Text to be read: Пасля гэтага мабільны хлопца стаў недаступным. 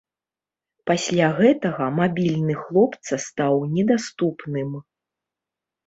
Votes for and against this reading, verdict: 2, 0, accepted